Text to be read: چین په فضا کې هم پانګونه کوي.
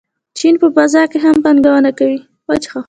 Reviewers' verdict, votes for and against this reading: rejected, 0, 2